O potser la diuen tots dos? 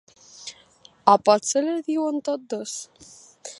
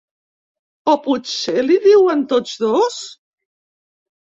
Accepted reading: first